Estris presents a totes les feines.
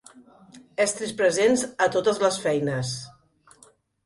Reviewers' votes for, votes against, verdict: 3, 0, accepted